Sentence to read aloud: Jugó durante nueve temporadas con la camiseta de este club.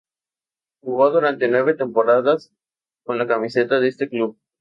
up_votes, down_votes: 2, 0